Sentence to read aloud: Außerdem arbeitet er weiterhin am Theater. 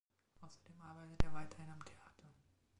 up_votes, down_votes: 0, 2